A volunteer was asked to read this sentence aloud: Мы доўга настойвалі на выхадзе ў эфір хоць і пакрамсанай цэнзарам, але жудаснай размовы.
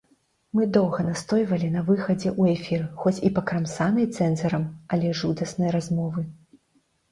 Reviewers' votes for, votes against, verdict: 2, 0, accepted